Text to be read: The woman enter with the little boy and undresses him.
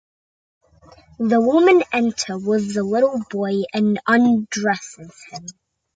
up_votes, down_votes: 2, 0